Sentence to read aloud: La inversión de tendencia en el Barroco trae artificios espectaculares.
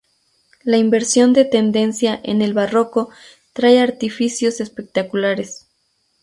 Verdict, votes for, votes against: accepted, 2, 0